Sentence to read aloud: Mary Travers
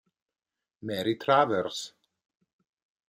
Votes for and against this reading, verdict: 2, 1, accepted